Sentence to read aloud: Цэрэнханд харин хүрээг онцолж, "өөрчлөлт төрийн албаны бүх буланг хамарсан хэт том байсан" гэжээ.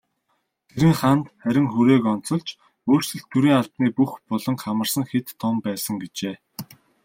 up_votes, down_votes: 0, 2